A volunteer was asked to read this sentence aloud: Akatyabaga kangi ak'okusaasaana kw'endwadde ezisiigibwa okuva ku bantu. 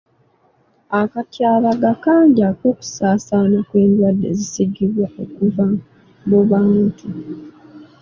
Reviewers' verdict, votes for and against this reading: accepted, 2, 0